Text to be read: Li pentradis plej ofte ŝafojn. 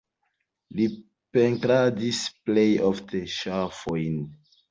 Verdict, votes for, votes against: rejected, 0, 2